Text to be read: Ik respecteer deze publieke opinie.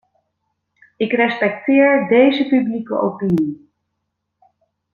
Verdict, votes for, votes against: accepted, 2, 0